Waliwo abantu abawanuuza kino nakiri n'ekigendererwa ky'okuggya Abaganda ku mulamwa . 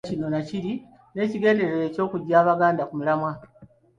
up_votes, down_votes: 0, 2